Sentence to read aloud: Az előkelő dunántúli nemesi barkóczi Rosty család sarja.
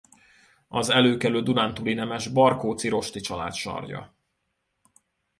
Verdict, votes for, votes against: rejected, 1, 2